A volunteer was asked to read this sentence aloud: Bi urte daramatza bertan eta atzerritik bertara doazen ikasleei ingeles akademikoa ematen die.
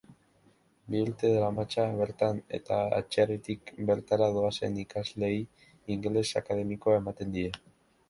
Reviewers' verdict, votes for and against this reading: accepted, 2, 0